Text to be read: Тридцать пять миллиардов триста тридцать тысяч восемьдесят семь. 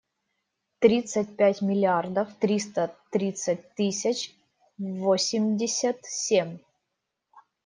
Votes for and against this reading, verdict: 2, 0, accepted